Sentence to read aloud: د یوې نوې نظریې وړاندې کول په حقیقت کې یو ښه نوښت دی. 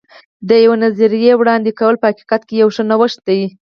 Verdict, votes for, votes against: accepted, 4, 0